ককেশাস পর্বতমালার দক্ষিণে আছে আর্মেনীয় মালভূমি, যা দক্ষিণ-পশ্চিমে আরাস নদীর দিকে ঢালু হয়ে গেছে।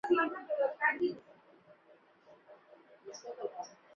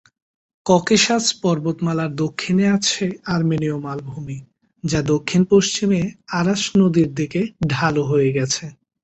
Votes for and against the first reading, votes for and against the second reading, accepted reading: 0, 5, 4, 0, second